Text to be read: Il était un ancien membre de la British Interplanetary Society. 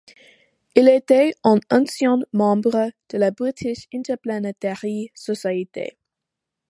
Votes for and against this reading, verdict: 1, 2, rejected